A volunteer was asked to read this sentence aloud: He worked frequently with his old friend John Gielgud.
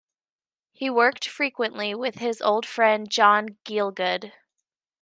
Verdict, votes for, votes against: accepted, 2, 0